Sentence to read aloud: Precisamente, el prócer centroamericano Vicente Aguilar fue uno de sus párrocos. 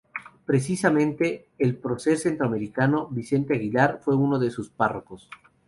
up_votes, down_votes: 0, 2